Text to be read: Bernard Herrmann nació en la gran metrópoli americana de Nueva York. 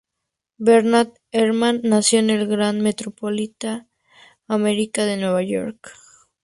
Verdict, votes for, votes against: rejected, 2, 2